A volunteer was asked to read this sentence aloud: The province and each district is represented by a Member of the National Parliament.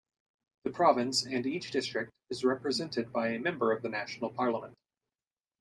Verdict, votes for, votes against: rejected, 1, 2